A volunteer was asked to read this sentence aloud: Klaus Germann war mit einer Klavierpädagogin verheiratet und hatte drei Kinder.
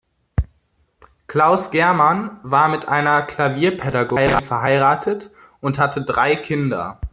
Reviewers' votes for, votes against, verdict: 1, 2, rejected